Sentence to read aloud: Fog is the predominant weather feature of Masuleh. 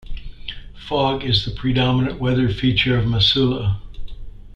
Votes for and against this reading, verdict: 2, 1, accepted